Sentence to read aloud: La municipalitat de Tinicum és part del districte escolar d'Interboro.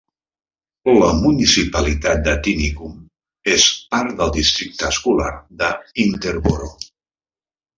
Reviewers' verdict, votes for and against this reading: rejected, 1, 2